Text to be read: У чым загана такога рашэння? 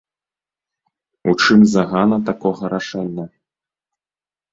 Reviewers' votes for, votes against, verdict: 1, 2, rejected